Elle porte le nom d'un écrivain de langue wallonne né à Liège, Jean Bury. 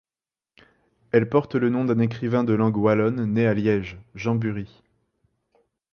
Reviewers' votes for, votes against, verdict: 2, 0, accepted